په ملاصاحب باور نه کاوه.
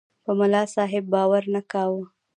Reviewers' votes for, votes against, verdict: 0, 2, rejected